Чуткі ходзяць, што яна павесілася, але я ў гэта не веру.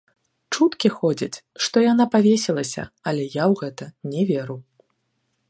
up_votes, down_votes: 1, 2